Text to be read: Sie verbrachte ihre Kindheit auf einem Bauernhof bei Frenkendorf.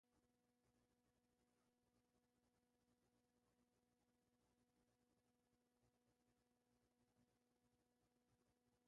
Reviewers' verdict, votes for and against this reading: rejected, 0, 2